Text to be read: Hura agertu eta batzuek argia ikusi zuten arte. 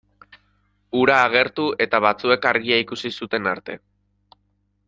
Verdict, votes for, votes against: accepted, 2, 1